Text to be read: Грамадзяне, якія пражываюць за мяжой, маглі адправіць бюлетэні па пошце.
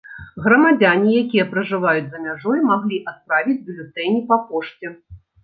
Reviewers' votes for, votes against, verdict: 2, 0, accepted